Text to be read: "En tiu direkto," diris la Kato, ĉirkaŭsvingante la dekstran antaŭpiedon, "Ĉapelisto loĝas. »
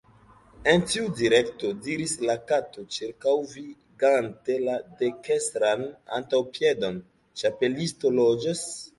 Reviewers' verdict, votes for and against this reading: rejected, 0, 2